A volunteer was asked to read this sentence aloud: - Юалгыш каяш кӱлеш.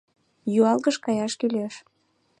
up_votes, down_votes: 2, 0